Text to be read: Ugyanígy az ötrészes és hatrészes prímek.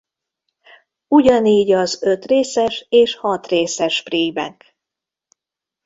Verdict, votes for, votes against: accepted, 2, 0